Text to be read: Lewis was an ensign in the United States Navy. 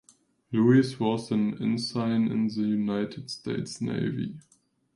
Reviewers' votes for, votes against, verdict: 4, 1, accepted